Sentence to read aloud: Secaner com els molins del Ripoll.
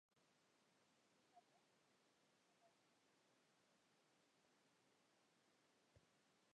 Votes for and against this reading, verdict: 1, 4, rejected